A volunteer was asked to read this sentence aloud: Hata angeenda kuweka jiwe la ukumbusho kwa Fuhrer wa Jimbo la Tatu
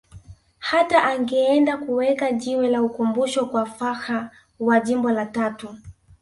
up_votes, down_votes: 0, 2